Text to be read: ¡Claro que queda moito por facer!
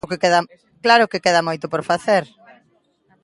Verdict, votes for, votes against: rejected, 0, 3